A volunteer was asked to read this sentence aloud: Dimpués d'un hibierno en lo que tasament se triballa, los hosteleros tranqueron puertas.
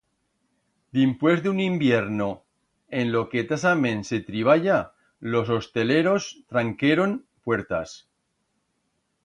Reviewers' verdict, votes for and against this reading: rejected, 1, 2